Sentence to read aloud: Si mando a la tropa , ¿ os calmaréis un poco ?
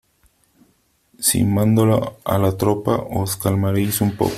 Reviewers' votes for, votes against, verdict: 2, 3, rejected